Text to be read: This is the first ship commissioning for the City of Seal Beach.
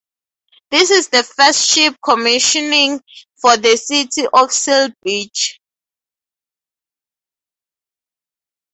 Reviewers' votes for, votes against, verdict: 2, 0, accepted